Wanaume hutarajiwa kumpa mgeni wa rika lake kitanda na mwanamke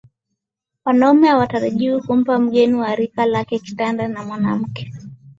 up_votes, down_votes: 4, 0